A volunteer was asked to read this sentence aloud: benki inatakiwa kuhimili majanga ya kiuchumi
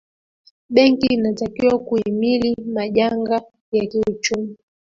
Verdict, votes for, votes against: rejected, 0, 2